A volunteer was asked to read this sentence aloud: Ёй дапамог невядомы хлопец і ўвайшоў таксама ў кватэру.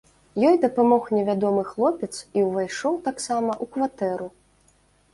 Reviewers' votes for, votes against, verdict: 2, 1, accepted